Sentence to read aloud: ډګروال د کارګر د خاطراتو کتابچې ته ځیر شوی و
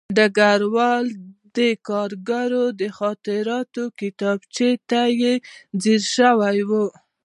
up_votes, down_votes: 1, 2